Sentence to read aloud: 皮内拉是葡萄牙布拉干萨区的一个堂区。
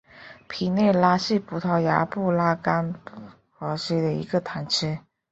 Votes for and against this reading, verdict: 1, 2, rejected